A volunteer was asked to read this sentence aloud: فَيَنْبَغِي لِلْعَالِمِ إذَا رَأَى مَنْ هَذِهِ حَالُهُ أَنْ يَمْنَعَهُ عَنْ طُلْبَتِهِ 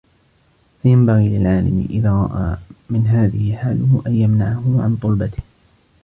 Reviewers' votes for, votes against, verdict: 1, 2, rejected